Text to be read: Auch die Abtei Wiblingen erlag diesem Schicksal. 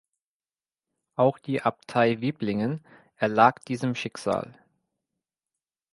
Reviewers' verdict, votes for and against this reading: accepted, 2, 0